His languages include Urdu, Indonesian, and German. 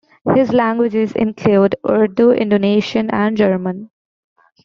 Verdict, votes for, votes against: accepted, 2, 1